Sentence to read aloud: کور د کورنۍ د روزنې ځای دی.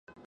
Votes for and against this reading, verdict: 0, 2, rejected